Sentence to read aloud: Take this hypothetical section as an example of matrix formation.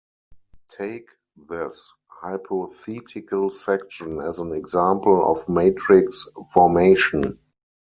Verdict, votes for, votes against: accepted, 4, 2